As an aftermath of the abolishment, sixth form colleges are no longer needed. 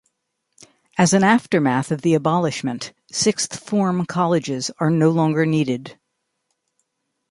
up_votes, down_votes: 2, 0